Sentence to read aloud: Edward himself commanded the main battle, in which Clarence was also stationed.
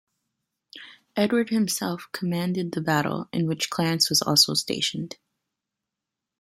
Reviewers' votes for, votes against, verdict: 1, 2, rejected